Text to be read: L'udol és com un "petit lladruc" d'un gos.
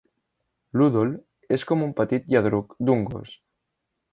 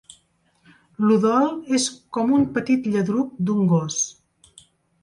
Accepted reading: second